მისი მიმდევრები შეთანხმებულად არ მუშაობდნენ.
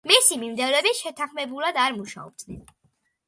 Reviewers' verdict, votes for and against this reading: accepted, 2, 0